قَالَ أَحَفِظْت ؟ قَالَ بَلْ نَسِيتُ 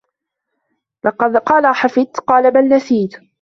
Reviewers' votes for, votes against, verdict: 0, 2, rejected